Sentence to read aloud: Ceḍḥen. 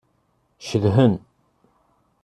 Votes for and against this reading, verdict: 1, 2, rejected